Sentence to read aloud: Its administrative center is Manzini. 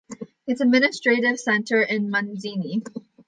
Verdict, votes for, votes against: rejected, 0, 2